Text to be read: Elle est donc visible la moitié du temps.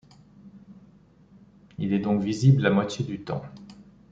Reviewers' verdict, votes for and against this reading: rejected, 0, 2